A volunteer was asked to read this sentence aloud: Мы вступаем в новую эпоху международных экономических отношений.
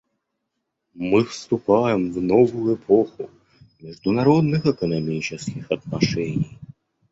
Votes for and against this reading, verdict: 1, 2, rejected